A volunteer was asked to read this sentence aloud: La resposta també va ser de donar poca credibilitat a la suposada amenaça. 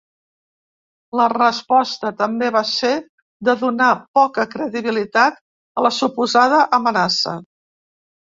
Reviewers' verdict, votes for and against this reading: accepted, 3, 0